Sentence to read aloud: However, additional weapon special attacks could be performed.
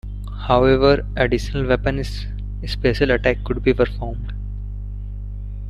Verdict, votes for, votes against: rejected, 1, 2